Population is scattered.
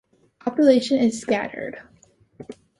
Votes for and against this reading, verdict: 2, 0, accepted